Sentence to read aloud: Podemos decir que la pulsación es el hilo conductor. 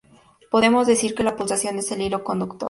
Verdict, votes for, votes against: accepted, 2, 0